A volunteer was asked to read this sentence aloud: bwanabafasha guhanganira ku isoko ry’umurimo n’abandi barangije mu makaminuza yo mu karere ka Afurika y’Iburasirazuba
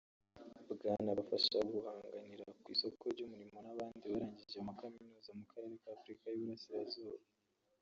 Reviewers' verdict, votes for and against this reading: rejected, 2, 3